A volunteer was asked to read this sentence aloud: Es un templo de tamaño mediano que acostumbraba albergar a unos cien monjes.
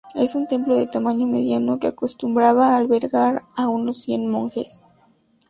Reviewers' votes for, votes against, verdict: 2, 2, rejected